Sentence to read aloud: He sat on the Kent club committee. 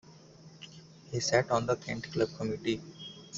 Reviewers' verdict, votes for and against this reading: accepted, 2, 1